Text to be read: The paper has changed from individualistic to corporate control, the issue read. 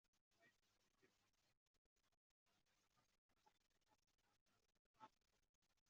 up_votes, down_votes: 0, 2